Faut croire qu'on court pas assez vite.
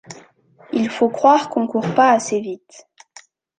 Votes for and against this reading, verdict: 0, 2, rejected